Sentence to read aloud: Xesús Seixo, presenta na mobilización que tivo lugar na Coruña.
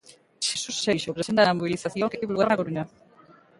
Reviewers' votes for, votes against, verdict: 0, 2, rejected